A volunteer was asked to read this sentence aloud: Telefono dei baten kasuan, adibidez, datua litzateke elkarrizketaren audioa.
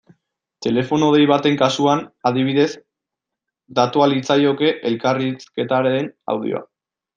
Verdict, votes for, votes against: rejected, 0, 2